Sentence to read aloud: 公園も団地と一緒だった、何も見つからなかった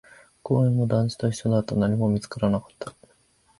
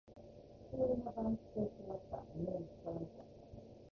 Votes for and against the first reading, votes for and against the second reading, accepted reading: 2, 0, 1, 2, first